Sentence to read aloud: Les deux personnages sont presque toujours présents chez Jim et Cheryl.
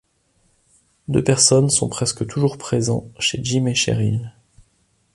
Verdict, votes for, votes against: rejected, 0, 2